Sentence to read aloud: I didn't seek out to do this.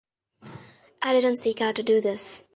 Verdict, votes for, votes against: rejected, 1, 2